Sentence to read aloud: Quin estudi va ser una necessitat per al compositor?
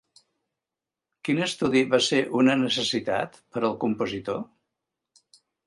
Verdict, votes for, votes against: accepted, 3, 0